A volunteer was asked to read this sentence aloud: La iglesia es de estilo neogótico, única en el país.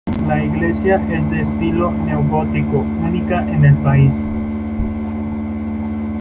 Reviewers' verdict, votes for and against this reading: rejected, 1, 2